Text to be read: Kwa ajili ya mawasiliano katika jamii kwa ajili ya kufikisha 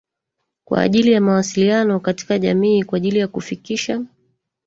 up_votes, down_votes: 1, 2